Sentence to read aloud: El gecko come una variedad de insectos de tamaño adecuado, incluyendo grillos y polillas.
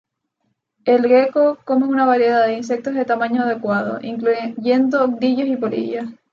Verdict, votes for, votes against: rejected, 2, 2